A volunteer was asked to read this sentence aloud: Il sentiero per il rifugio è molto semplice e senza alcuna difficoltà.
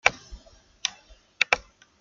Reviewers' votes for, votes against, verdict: 0, 2, rejected